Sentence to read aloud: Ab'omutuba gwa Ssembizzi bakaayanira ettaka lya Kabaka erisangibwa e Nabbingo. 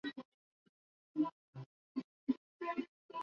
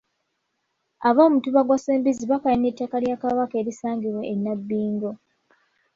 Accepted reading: second